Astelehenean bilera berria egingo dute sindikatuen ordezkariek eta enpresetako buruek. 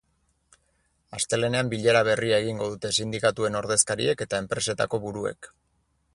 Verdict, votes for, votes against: accepted, 4, 0